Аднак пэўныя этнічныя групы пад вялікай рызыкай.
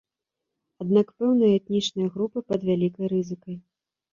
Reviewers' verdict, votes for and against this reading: accepted, 3, 0